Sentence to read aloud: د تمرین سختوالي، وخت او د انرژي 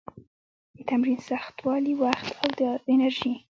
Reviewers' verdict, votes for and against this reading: rejected, 0, 2